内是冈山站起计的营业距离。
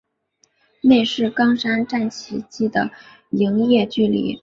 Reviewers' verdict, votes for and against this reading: accepted, 4, 0